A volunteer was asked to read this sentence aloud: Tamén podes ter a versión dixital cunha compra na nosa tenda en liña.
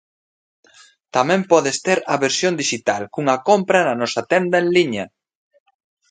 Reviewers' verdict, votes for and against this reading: accepted, 2, 0